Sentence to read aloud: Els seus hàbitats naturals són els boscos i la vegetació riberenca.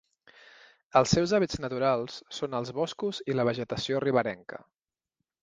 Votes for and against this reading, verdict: 2, 1, accepted